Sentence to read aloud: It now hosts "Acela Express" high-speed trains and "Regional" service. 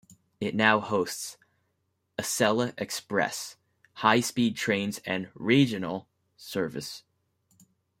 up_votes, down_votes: 0, 2